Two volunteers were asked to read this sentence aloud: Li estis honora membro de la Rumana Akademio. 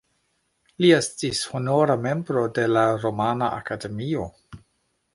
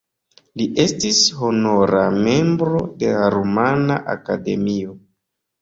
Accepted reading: first